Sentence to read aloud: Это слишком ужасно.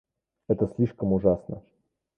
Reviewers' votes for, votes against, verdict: 2, 0, accepted